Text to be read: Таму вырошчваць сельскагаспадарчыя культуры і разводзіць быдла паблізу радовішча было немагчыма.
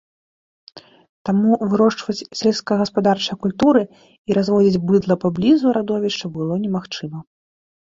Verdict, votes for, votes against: accepted, 2, 0